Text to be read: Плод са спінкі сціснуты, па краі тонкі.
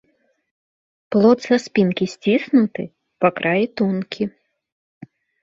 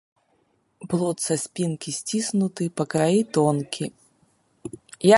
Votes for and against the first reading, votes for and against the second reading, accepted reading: 2, 0, 1, 2, first